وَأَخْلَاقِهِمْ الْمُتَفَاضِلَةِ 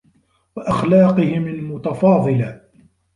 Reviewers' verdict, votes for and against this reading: accepted, 2, 0